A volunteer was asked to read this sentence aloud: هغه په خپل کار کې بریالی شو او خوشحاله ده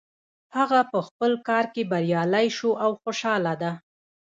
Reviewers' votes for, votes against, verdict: 2, 0, accepted